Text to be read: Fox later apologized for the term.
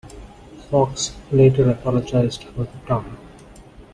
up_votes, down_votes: 2, 1